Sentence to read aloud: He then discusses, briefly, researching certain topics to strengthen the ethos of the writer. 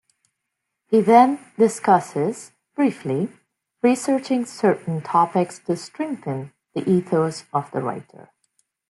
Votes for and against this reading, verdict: 2, 0, accepted